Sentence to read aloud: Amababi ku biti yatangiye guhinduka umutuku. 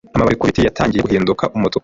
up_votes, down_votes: 1, 2